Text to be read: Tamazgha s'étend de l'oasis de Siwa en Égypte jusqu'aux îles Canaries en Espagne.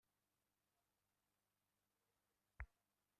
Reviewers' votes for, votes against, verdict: 0, 2, rejected